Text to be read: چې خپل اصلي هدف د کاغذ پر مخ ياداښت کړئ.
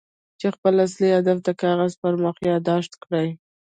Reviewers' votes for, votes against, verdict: 1, 2, rejected